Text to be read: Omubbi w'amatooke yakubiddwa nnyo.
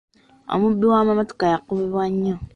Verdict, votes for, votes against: rejected, 0, 2